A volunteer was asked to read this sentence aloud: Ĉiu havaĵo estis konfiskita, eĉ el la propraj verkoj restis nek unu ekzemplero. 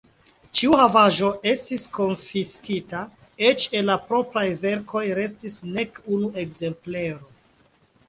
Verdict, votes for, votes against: accepted, 2, 1